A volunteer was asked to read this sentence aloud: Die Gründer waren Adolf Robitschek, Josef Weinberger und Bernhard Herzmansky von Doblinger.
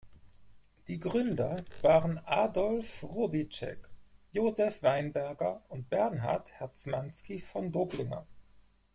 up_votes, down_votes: 4, 0